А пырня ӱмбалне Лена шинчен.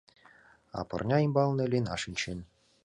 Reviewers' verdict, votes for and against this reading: accepted, 2, 0